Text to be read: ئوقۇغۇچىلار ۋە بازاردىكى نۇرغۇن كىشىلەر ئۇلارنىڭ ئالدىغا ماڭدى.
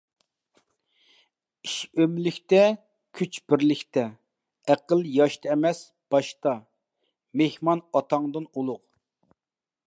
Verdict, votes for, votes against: rejected, 0, 2